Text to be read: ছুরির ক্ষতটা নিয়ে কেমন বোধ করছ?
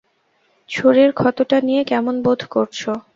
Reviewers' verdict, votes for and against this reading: rejected, 0, 2